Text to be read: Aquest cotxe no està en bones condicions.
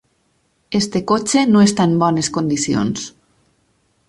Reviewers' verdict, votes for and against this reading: rejected, 2, 6